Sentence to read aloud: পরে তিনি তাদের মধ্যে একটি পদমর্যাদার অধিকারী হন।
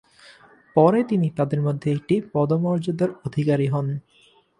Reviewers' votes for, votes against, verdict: 2, 0, accepted